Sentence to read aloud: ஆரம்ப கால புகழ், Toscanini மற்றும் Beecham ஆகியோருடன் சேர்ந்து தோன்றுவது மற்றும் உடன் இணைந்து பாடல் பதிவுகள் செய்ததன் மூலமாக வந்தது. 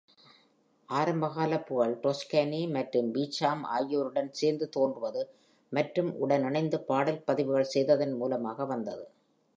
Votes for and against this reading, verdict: 2, 0, accepted